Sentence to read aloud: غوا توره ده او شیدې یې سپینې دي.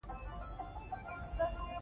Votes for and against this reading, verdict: 2, 1, accepted